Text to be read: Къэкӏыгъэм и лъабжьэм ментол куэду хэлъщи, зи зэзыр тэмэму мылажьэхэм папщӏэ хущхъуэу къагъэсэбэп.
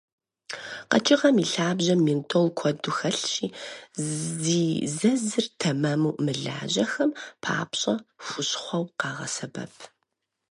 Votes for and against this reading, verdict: 0, 4, rejected